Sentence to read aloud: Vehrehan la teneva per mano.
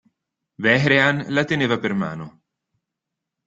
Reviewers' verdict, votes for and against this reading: accepted, 2, 0